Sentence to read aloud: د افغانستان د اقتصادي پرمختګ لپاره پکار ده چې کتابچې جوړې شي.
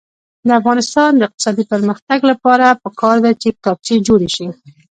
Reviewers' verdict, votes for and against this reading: accepted, 2, 0